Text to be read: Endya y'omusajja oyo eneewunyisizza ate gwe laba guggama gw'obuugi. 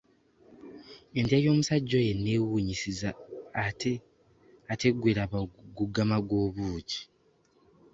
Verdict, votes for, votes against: rejected, 0, 2